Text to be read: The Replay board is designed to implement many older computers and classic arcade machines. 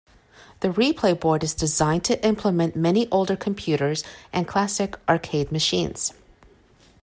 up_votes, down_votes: 2, 0